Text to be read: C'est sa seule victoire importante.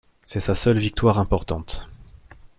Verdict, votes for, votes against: accepted, 2, 0